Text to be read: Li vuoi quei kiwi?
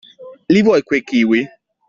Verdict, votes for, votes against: accepted, 2, 0